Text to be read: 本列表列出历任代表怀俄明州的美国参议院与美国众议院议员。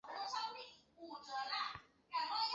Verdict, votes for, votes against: rejected, 0, 5